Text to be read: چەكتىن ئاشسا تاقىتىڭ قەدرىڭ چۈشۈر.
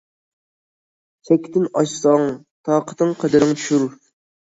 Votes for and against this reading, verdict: 0, 2, rejected